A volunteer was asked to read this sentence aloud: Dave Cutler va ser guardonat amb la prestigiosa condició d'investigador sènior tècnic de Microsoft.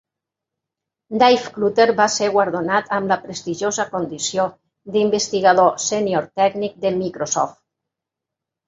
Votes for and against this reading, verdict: 2, 0, accepted